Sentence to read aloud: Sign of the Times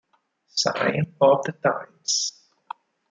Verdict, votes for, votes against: rejected, 2, 4